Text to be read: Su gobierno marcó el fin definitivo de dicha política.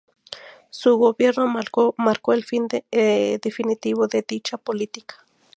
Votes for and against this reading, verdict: 2, 0, accepted